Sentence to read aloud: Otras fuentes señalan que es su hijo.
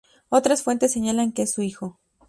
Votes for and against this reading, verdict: 2, 0, accepted